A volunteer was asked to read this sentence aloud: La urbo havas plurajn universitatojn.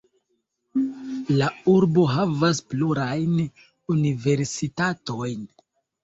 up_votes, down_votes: 2, 0